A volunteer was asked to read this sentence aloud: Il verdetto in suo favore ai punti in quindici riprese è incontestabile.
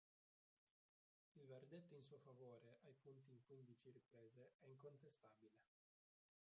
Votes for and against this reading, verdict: 0, 3, rejected